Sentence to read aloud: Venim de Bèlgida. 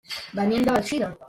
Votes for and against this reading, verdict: 0, 2, rejected